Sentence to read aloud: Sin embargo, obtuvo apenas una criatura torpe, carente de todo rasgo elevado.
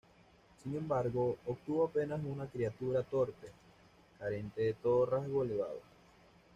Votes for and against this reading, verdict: 2, 0, accepted